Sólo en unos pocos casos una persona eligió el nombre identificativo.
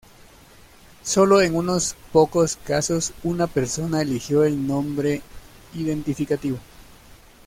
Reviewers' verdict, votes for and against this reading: accepted, 2, 0